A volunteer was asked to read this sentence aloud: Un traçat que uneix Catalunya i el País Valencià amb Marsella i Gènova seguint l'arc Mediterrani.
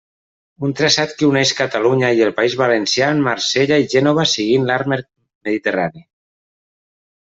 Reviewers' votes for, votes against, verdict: 0, 2, rejected